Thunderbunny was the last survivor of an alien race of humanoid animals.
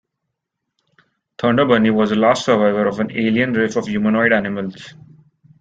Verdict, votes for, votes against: accepted, 2, 1